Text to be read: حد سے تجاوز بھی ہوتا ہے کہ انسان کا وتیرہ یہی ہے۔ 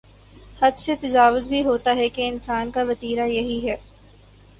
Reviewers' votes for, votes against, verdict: 2, 0, accepted